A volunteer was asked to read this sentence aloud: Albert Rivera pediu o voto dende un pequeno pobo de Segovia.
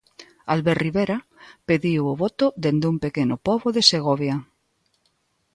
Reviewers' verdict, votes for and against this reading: accepted, 2, 0